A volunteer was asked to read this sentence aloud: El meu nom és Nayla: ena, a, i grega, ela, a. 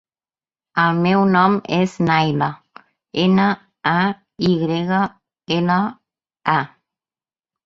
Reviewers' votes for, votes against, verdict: 2, 0, accepted